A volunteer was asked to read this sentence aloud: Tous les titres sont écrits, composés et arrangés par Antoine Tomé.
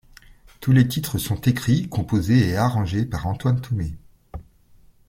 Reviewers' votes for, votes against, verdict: 3, 0, accepted